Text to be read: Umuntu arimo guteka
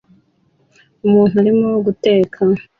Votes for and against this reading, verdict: 2, 0, accepted